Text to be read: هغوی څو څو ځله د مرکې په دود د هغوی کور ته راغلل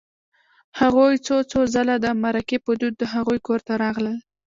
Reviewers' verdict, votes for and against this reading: rejected, 1, 2